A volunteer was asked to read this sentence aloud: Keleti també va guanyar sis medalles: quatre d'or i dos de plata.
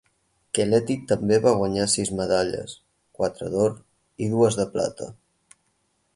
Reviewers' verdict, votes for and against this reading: rejected, 2, 4